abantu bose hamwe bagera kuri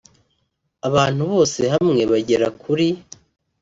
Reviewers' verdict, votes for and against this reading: accepted, 2, 0